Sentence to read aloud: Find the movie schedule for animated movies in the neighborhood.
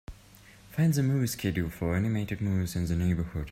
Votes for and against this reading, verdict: 3, 0, accepted